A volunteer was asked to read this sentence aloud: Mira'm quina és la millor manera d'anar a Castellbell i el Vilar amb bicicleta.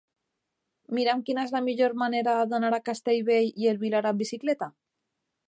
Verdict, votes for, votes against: accepted, 2, 0